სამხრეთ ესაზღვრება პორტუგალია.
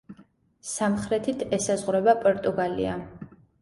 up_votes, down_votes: 1, 2